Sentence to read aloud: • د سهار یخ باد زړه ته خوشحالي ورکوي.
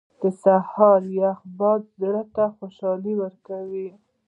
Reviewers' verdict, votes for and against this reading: rejected, 0, 2